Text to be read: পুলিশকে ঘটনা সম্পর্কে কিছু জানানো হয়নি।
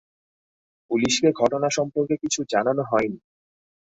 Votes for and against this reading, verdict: 5, 0, accepted